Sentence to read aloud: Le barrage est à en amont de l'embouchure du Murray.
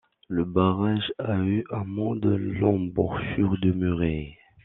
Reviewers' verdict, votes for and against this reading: rejected, 0, 2